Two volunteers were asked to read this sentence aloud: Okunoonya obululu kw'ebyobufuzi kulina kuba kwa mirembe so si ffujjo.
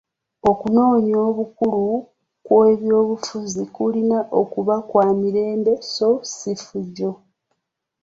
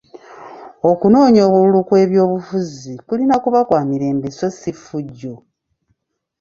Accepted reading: second